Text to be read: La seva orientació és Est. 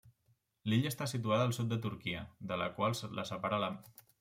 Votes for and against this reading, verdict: 0, 2, rejected